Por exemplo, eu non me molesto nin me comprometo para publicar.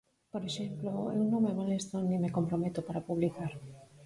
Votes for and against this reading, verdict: 4, 2, accepted